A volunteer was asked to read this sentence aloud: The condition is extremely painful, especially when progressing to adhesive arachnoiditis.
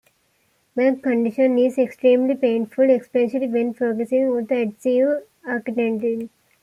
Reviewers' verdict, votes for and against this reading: rejected, 0, 2